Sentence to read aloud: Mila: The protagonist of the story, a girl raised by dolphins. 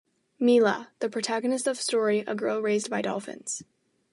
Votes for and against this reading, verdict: 2, 0, accepted